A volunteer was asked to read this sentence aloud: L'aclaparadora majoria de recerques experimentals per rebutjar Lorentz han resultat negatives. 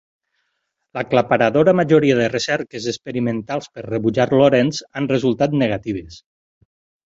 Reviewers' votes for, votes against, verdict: 6, 0, accepted